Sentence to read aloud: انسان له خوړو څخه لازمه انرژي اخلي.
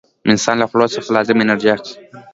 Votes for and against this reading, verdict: 2, 1, accepted